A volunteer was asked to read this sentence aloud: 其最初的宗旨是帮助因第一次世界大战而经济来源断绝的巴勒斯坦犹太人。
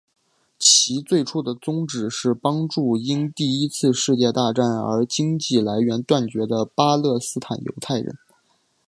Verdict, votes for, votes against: accepted, 3, 0